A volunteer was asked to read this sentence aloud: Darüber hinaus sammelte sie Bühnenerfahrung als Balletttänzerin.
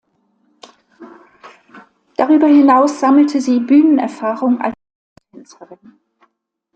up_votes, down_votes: 0, 2